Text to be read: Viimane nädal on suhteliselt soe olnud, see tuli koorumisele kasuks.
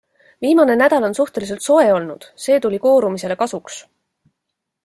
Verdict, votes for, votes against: accepted, 2, 0